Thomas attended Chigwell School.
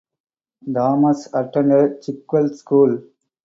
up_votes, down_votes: 2, 2